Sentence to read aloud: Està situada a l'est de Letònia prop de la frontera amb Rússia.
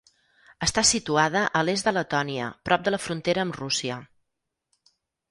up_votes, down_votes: 6, 0